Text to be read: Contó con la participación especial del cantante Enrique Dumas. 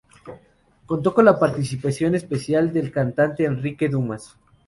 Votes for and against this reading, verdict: 4, 0, accepted